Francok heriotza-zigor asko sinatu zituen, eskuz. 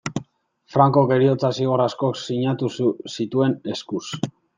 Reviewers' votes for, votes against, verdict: 2, 0, accepted